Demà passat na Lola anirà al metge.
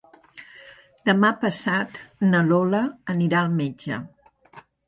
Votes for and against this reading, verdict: 7, 0, accepted